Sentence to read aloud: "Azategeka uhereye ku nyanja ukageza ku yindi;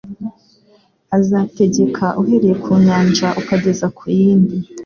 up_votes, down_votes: 2, 0